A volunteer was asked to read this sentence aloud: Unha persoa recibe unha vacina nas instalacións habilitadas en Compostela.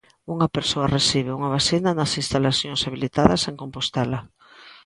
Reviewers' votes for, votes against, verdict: 2, 0, accepted